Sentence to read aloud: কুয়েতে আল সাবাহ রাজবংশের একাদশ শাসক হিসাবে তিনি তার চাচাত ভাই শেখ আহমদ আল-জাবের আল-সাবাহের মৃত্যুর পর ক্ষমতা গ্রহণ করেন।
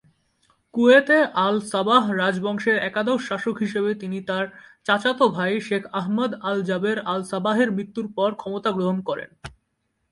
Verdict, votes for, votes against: accepted, 7, 1